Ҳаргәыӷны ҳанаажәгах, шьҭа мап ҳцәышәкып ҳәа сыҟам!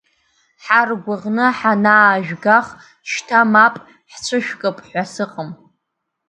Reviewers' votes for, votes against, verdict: 2, 0, accepted